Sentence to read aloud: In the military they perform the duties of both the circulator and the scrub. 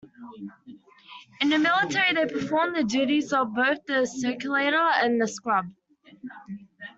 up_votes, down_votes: 2, 0